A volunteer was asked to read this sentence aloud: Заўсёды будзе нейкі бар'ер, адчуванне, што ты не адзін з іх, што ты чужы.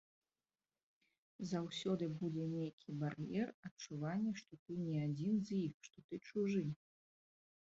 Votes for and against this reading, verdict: 1, 2, rejected